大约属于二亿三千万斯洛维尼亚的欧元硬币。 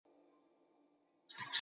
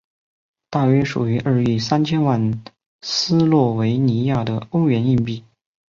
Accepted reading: second